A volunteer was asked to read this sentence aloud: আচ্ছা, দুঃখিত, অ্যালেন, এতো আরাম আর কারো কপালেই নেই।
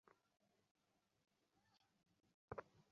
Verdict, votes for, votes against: rejected, 0, 2